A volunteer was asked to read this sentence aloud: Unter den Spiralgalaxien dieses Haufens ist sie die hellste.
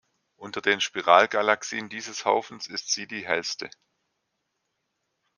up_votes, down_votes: 2, 0